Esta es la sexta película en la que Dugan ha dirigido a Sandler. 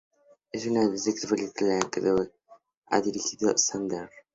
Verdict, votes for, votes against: rejected, 2, 2